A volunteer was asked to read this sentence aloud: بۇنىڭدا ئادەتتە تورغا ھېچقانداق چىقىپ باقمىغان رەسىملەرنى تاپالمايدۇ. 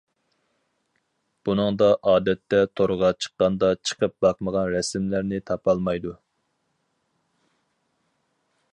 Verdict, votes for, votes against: rejected, 0, 4